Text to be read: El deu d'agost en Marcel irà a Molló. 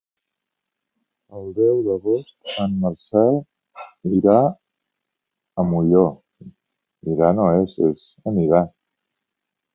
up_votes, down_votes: 0, 2